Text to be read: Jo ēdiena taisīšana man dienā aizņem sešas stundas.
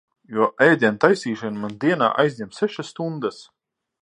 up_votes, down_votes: 6, 0